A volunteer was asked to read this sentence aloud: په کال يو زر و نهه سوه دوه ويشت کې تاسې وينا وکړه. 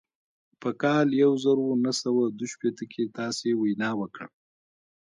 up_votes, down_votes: 1, 2